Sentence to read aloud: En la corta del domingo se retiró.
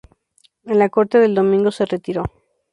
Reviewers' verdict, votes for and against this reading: rejected, 0, 2